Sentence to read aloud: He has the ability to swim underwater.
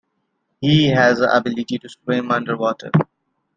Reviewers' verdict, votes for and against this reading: accepted, 2, 0